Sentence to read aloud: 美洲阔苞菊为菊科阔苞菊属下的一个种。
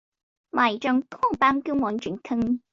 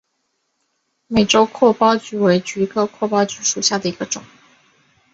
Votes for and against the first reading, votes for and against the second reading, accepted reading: 1, 2, 4, 0, second